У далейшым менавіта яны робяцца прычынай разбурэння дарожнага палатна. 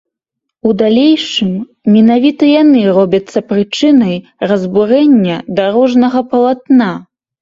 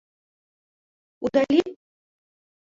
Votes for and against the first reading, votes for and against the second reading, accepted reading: 2, 0, 1, 2, first